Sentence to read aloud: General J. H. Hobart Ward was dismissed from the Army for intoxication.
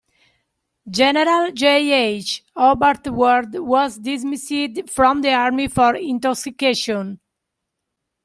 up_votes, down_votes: 1, 2